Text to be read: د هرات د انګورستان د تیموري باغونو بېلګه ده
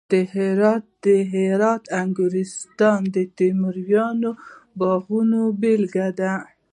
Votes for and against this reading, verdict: 2, 0, accepted